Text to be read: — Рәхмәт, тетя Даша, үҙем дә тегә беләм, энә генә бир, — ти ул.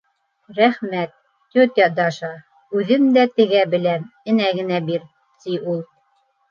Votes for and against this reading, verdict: 2, 0, accepted